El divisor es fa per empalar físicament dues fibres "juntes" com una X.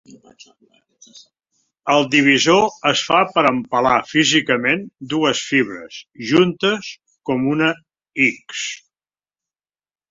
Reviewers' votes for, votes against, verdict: 3, 1, accepted